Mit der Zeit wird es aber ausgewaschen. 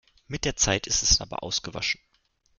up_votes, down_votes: 1, 2